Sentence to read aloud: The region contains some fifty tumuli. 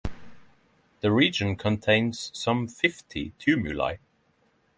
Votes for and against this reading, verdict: 3, 0, accepted